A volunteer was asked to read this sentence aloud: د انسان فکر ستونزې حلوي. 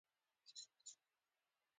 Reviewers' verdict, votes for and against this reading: rejected, 0, 2